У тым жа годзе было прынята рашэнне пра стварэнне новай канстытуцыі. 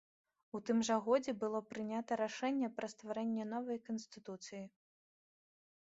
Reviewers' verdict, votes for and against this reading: accepted, 2, 0